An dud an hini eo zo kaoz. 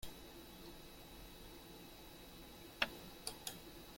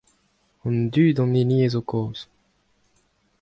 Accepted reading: second